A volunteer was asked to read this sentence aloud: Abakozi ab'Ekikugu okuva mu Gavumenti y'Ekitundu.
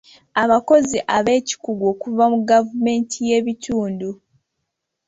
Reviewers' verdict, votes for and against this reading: accepted, 2, 1